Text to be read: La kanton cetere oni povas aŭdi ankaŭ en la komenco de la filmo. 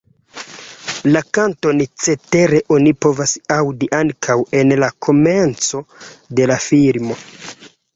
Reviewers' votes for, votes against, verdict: 1, 2, rejected